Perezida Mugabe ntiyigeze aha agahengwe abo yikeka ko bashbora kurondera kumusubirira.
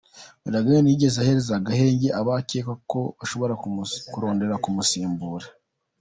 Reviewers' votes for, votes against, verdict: 1, 2, rejected